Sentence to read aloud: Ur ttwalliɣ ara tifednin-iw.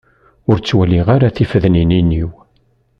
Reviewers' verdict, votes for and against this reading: rejected, 1, 2